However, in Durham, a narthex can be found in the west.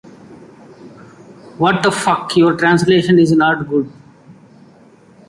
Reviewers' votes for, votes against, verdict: 1, 2, rejected